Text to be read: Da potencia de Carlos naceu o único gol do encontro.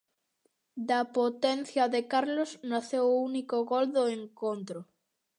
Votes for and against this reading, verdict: 2, 0, accepted